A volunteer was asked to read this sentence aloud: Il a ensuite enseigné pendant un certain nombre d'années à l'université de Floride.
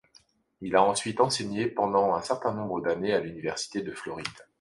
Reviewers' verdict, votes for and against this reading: accepted, 2, 0